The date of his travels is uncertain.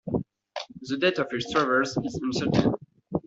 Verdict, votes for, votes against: accepted, 2, 0